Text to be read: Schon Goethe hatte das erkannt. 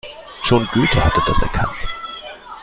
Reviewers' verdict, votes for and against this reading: accepted, 2, 0